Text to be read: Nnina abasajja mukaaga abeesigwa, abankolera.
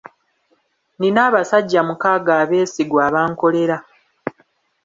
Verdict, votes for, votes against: accepted, 2, 0